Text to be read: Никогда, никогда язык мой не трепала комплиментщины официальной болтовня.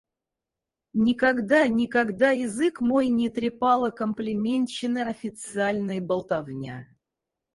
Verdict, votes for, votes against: rejected, 2, 4